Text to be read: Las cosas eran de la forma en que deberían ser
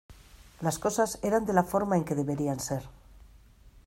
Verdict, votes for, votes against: accepted, 2, 0